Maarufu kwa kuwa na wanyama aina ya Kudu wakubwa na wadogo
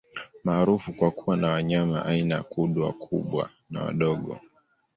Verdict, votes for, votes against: accepted, 2, 0